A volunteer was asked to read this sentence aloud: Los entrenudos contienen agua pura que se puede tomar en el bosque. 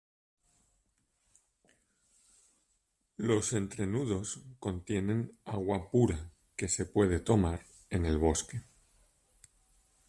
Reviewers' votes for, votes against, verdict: 0, 2, rejected